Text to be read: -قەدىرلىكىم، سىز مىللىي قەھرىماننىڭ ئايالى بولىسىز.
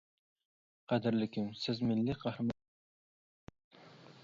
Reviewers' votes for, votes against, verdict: 0, 2, rejected